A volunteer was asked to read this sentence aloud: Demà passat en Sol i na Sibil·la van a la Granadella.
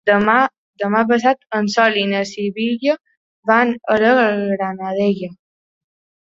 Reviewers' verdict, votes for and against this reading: rejected, 1, 2